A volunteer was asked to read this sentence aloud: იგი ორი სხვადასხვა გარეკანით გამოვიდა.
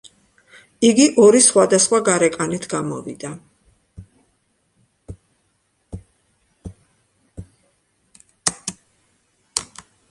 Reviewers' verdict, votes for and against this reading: rejected, 1, 2